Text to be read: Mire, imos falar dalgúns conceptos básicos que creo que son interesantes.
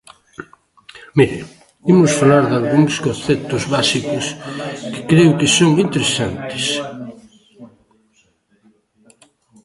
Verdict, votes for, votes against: rejected, 0, 2